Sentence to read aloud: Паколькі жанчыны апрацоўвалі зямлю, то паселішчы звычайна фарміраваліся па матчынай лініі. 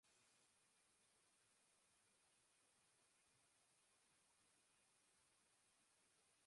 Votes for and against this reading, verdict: 0, 3, rejected